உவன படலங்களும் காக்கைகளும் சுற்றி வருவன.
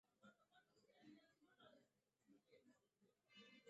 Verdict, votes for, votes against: rejected, 0, 2